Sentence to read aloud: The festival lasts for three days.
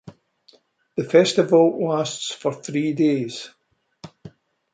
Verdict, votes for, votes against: accepted, 2, 0